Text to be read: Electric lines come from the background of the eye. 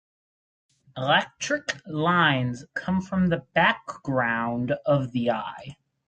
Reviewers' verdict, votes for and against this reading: accepted, 4, 0